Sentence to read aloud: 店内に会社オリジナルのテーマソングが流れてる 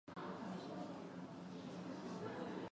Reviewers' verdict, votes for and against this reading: rejected, 0, 2